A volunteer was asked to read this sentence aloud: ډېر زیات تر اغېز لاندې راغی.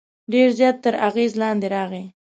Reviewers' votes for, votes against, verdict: 2, 0, accepted